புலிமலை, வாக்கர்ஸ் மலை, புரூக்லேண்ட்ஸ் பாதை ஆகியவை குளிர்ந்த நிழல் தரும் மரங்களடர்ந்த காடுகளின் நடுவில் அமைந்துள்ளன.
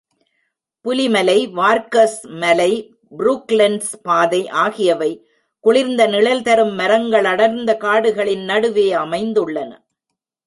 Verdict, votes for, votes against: rejected, 0, 2